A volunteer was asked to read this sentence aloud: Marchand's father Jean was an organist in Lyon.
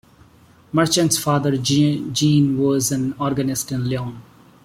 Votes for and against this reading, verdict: 1, 2, rejected